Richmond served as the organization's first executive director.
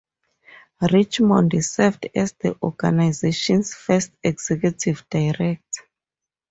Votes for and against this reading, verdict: 2, 2, rejected